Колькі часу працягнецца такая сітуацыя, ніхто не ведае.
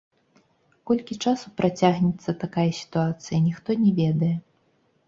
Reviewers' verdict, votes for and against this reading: rejected, 1, 2